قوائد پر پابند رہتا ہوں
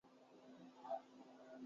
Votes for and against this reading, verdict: 0, 3, rejected